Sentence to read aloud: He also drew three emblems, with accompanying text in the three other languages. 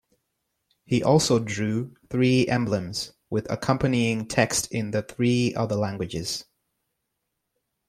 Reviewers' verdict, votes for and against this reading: accepted, 2, 1